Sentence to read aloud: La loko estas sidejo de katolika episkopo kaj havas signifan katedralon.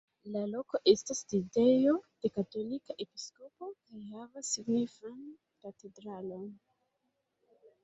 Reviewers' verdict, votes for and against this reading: rejected, 0, 2